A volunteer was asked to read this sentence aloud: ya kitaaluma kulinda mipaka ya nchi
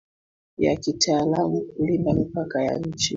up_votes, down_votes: 0, 2